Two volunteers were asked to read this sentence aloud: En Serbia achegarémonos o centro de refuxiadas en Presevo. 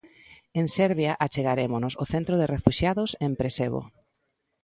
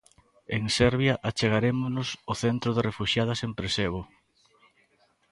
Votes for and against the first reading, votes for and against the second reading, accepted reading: 1, 2, 3, 0, second